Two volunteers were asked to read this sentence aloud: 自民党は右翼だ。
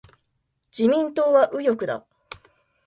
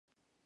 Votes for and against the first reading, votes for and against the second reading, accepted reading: 2, 0, 0, 2, first